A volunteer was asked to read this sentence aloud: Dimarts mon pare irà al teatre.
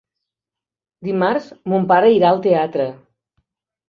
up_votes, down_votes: 3, 0